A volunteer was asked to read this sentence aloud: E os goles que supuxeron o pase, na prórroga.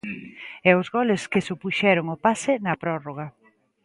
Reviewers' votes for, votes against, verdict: 2, 0, accepted